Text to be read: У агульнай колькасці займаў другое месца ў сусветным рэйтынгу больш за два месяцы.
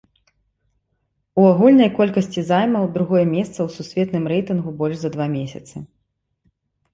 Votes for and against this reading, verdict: 3, 1, accepted